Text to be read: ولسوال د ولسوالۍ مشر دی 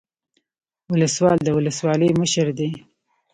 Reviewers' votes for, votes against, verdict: 2, 0, accepted